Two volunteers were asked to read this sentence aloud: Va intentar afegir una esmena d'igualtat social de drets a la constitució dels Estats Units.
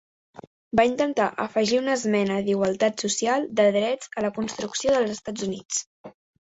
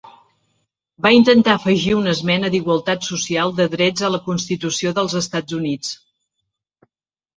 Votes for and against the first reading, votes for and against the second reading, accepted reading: 1, 2, 3, 0, second